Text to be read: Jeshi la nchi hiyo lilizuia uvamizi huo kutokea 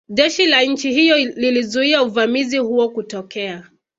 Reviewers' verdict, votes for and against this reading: accepted, 4, 1